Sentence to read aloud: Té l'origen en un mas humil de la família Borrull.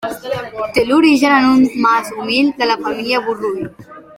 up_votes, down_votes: 3, 0